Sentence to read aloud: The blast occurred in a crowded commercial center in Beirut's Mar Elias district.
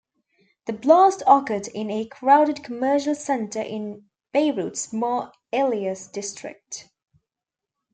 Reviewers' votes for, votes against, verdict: 1, 2, rejected